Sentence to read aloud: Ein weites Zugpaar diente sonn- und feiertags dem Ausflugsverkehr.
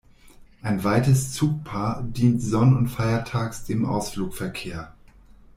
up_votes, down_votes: 1, 2